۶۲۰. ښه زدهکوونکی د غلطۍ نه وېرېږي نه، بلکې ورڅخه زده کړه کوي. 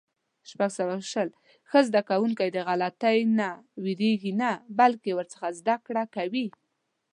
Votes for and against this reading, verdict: 0, 2, rejected